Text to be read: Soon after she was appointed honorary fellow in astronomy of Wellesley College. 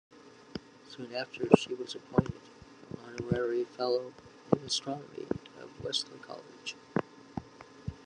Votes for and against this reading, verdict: 1, 2, rejected